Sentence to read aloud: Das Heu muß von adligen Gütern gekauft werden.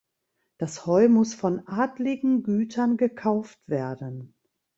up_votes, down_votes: 2, 0